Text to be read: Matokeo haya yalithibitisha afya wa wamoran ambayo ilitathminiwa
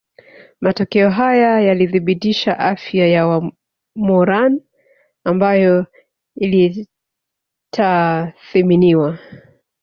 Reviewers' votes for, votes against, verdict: 1, 2, rejected